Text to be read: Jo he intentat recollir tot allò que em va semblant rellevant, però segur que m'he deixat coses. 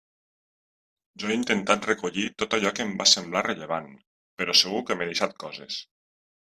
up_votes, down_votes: 0, 2